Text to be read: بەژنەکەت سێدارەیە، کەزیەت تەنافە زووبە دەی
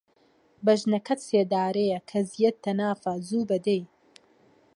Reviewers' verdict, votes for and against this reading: accepted, 2, 0